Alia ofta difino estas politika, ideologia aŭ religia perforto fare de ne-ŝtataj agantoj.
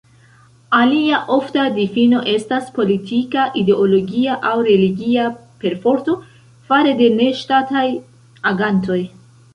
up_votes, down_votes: 1, 2